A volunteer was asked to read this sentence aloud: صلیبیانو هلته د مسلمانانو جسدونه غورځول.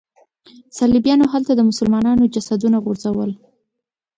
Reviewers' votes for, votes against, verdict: 2, 0, accepted